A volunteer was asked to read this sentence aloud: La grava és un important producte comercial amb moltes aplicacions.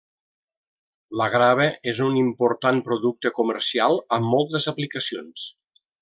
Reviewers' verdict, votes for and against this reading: accepted, 3, 0